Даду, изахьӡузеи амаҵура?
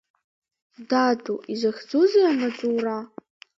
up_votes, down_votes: 2, 1